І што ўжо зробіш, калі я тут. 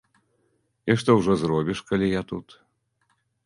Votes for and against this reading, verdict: 2, 0, accepted